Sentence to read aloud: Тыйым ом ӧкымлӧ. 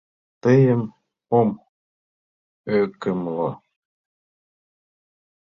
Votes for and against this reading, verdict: 2, 0, accepted